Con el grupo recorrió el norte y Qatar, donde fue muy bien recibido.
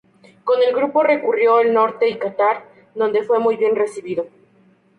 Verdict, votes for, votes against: rejected, 0, 2